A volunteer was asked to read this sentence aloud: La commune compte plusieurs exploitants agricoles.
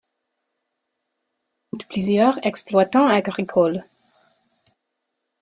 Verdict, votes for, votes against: rejected, 1, 2